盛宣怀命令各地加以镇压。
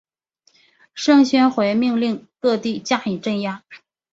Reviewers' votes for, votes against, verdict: 3, 1, accepted